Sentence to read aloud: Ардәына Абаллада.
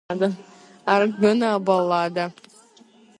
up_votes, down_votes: 1, 2